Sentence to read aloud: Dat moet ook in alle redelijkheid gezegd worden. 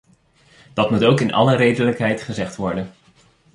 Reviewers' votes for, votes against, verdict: 2, 0, accepted